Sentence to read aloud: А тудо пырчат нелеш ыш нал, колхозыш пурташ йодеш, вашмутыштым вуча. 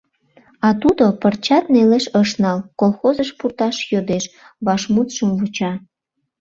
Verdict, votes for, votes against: rejected, 0, 2